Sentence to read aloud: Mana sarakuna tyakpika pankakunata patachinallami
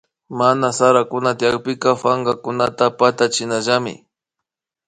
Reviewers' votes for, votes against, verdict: 2, 0, accepted